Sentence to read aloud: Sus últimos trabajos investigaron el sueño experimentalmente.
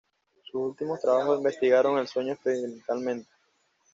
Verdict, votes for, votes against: rejected, 1, 2